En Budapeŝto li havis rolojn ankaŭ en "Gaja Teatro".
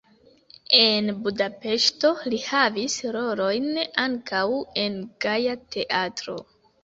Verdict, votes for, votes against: accepted, 2, 1